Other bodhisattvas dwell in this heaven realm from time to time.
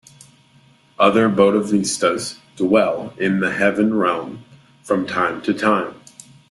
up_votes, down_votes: 0, 2